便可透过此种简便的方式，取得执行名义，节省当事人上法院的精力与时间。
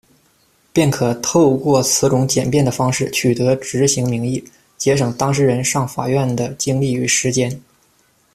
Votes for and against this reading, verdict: 2, 0, accepted